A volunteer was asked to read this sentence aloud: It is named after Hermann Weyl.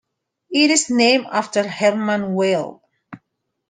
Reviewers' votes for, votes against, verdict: 2, 0, accepted